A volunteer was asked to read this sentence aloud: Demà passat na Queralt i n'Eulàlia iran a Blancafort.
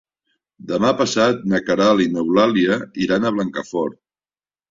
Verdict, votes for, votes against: accepted, 3, 0